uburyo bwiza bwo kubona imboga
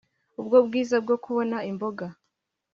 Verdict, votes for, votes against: rejected, 1, 2